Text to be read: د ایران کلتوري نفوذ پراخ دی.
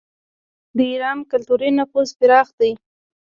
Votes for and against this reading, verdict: 0, 2, rejected